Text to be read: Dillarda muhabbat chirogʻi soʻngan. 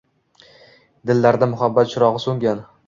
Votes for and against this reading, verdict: 2, 0, accepted